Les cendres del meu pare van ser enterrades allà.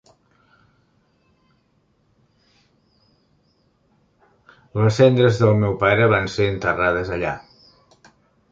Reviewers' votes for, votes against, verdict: 0, 2, rejected